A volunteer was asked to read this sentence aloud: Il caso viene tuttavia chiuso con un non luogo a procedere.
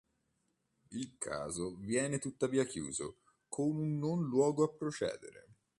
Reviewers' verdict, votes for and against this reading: accepted, 2, 0